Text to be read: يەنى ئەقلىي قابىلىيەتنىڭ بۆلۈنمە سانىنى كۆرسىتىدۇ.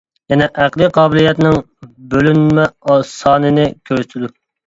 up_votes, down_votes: 0, 2